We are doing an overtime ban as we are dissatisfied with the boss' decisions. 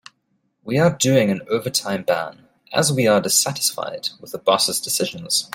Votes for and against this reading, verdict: 1, 2, rejected